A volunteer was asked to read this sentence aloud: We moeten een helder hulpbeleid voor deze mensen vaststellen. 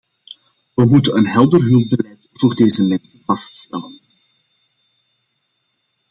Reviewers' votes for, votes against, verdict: 0, 2, rejected